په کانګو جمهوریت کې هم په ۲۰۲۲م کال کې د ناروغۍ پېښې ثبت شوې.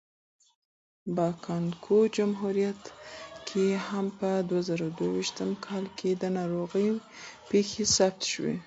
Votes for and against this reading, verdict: 0, 2, rejected